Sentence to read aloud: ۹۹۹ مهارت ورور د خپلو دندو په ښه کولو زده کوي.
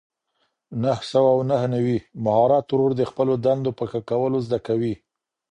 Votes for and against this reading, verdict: 0, 2, rejected